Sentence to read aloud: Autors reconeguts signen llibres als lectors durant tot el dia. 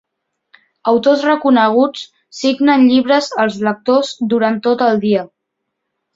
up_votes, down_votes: 2, 0